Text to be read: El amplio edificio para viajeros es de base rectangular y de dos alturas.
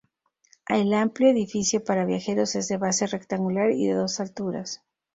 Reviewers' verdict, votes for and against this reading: accepted, 2, 0